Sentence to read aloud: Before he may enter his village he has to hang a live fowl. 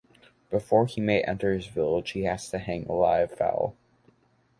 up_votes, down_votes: 2, 0